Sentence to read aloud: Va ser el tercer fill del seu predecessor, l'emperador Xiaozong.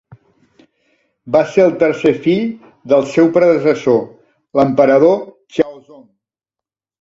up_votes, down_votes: 1, 2